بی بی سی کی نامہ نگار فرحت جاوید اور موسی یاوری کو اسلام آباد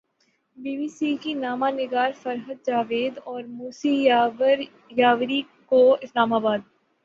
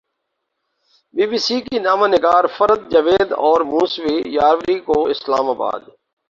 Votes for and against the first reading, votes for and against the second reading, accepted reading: 18, 3, 2, 2, first